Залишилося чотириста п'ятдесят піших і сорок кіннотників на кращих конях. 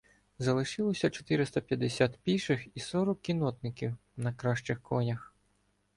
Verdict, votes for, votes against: rejected, 1, 2